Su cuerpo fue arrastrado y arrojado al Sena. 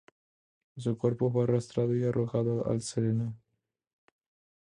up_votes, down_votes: 2, 0